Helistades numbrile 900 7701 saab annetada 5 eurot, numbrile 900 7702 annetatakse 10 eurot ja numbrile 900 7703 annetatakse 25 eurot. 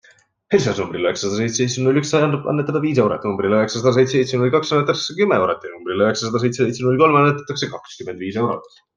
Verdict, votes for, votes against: rejected, 0, 2